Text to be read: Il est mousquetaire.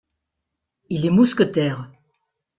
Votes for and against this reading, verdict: 2, 0, accepted